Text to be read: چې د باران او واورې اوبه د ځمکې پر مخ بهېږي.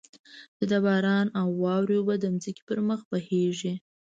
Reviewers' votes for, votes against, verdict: 1, 2, rejected